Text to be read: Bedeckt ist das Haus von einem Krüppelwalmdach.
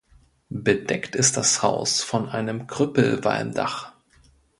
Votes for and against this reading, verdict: 2, 0, accepted